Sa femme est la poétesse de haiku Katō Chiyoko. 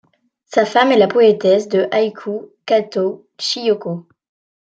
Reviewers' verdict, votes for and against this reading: accepted, 2, 0